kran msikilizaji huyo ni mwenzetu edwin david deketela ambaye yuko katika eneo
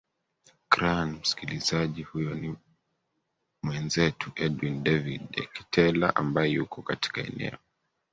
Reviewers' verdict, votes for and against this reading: rejected, 1, 2